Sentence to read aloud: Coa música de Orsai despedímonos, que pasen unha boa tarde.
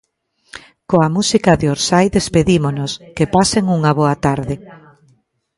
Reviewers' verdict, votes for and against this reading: accepted, 2, 0